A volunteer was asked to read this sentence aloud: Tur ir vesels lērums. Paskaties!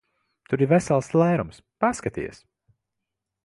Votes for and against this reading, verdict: 2, 0, accepted